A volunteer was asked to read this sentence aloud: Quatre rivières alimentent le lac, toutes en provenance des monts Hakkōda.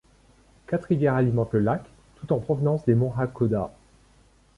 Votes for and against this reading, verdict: 2, 0, accepted